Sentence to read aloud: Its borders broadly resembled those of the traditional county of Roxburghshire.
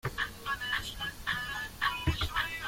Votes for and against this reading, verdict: 0, 2, rejected